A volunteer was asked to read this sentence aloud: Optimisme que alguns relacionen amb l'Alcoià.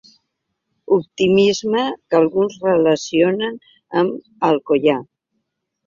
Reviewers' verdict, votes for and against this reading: rejected, 1, 3